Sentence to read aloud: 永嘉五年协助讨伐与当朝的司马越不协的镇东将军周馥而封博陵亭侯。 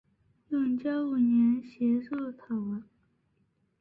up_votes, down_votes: 0, 2